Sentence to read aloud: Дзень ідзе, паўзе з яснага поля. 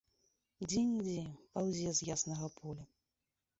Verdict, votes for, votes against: rejected, 1, 3